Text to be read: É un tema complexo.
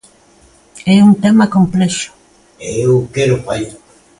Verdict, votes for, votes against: rejected, 0, 2